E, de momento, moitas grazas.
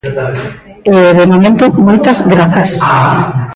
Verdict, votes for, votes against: rejected, 0, 2